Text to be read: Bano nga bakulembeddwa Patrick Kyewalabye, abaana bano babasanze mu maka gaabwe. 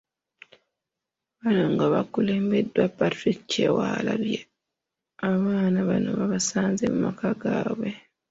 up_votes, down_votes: 1, 2